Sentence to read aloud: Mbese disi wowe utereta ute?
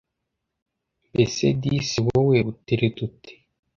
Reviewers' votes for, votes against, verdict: 2, 0, accepted